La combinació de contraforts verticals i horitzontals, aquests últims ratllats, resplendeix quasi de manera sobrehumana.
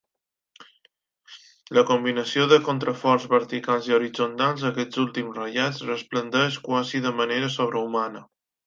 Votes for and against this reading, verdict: 2, 0, accepted